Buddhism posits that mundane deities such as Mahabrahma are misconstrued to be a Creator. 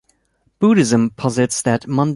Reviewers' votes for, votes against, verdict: 0, 2, rejected